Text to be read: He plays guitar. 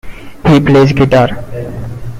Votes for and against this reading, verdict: 2, 0, accepted